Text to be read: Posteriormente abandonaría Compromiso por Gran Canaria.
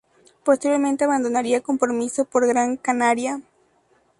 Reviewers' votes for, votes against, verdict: 2, 0, accepted